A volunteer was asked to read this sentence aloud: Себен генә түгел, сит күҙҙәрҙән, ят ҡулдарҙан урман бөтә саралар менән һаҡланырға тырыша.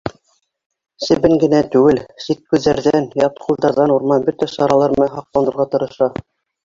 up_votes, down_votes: 3, 1